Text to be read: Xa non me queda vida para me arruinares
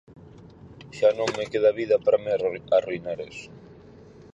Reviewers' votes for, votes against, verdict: 0, 4, rejected